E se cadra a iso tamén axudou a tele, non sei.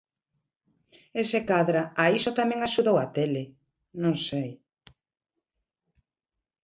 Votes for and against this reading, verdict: 2, 0, accepted